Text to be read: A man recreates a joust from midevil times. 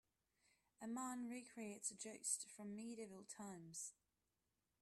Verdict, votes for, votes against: rejected, 0, 2